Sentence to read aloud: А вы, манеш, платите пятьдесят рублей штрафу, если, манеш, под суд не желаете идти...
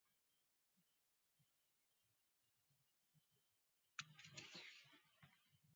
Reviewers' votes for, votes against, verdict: 1, 2, rejected